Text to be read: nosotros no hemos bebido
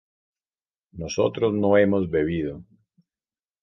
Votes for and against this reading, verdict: 2, 0, accepted